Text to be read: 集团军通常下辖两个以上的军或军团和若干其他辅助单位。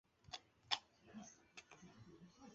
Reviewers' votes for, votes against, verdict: 0, 3, rejected